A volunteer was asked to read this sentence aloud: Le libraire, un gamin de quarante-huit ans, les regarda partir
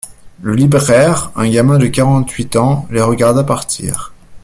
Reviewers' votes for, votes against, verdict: 2, 0, accepted